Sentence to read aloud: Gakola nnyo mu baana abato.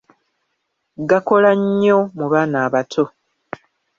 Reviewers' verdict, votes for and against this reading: accepted, 2, 0